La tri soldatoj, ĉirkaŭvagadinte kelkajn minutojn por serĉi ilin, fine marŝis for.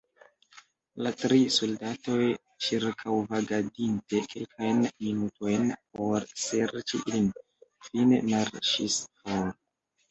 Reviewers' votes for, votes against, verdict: 1, 2, rejected